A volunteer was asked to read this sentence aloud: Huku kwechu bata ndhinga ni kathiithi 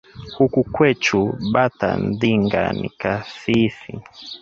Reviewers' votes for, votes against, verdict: 2, 0, accepted